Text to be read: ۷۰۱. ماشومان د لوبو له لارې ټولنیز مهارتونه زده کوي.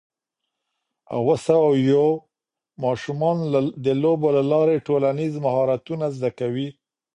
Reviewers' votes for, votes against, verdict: 0, 2, rejected